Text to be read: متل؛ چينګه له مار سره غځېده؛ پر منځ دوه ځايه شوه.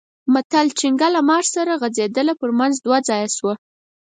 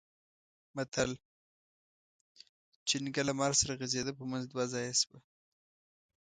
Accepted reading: first